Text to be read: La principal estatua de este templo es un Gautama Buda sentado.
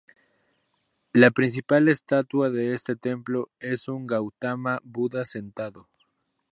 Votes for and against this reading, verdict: 4, 0, accepted